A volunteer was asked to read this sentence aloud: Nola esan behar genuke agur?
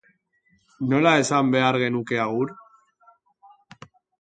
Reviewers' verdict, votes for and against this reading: accepted, 3, 0